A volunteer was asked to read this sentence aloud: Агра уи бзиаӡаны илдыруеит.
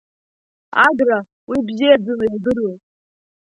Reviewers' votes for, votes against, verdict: 0, 2, rejected